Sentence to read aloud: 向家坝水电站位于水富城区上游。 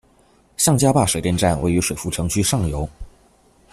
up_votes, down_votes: 2, 0